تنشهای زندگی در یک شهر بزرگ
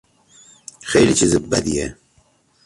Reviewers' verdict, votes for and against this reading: rejected, 0, 2